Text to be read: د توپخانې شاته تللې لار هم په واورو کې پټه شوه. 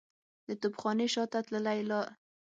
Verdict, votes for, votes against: rejected, 0, 6